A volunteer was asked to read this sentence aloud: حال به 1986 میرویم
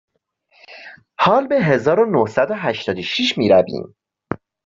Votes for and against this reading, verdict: 0, 2, rejected